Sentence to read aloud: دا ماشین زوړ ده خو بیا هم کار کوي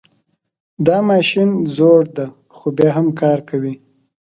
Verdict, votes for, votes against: accepted, 2, 0